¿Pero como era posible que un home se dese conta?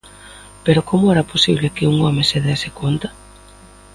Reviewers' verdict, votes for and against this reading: accepted, 2, 0